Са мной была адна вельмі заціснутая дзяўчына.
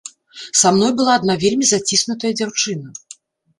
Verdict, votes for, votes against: accepted, 4, 0